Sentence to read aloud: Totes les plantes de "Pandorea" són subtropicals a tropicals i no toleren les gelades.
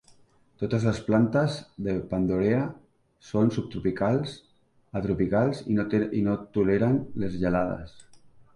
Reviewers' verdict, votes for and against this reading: rejected, 1, 2